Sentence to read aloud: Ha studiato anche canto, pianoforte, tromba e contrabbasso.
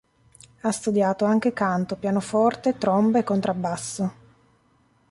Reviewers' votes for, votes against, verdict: 2, 0, accepted